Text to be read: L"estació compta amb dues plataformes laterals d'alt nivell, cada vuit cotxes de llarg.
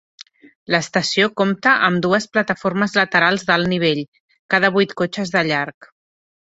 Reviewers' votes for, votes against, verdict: 2, 0, accepted